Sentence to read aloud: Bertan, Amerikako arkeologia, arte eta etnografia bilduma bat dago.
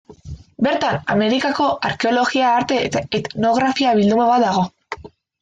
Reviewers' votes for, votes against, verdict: 2, 0, accepted